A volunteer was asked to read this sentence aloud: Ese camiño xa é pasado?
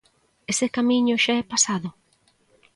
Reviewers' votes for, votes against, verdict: 2, 0, accepted